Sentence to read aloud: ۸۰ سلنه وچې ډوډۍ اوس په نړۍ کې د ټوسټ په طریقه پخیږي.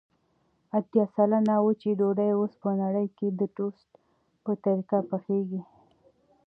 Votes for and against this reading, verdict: 0, 2, rejected